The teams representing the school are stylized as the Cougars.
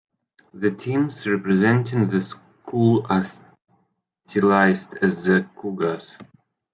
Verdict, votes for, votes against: rejected, 1, 2